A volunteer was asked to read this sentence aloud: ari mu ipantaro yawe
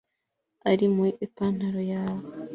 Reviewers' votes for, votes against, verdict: 3, 0, accepted